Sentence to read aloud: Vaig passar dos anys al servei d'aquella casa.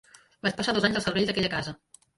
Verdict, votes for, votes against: accepted, 3, 2